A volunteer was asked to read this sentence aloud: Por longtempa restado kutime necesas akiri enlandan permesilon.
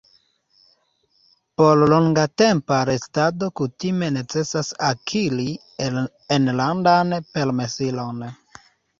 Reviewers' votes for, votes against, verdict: 1, 2, rejected